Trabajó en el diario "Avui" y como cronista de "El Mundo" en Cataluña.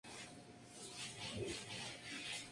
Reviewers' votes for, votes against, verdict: 0, 2, rejected